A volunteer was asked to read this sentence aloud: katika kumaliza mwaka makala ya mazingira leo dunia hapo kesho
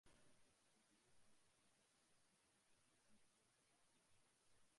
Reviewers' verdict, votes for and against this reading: rejected, 0, 3